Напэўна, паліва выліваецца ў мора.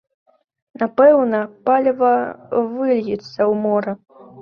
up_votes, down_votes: 1, 2